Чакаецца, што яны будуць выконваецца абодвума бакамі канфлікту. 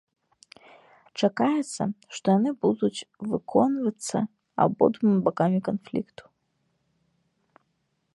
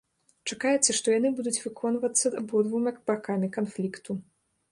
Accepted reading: first